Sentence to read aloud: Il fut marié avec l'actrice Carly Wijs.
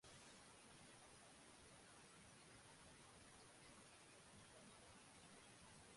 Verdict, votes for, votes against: rejected, 0, 2